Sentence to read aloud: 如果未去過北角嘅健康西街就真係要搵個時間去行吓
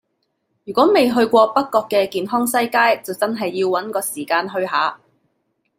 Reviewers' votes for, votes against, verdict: 0, 2, rejected